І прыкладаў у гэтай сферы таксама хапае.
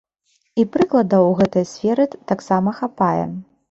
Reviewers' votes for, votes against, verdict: 1, 2, rejected